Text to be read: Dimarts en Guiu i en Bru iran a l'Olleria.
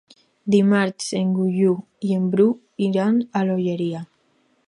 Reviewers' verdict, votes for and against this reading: rejected, 2, 2